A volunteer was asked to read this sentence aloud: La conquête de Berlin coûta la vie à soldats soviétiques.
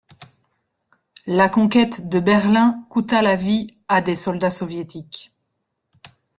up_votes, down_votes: 1, 2